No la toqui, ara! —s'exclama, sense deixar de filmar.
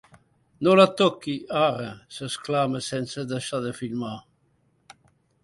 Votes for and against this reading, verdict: 2, 0, accepted